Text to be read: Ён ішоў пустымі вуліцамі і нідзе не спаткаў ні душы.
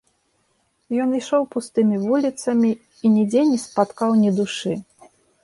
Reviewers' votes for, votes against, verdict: 2, 0, accepted